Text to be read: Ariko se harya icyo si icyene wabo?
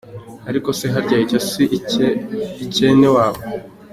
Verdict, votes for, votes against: accepted, 2, 1